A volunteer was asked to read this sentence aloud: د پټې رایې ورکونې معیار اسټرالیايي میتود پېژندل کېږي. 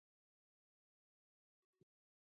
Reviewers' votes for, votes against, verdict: 0, 2, rejected